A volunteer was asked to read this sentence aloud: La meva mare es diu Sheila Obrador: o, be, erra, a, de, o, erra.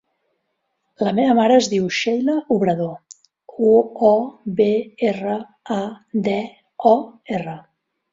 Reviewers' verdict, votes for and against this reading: rejected, 1, 2